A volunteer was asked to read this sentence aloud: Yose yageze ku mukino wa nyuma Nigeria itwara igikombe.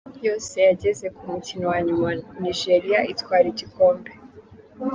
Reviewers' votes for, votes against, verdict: 2, 0, accepted